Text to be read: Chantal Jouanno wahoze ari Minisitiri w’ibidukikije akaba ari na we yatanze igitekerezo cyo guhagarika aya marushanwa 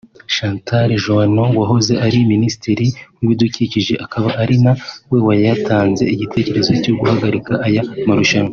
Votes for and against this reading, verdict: 1, 2, rejected